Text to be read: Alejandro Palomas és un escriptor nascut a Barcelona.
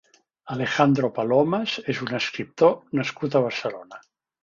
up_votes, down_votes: 3, 0